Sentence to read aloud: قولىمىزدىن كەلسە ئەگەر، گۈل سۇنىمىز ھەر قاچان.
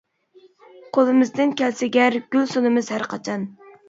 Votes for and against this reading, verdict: 0, 2, rejected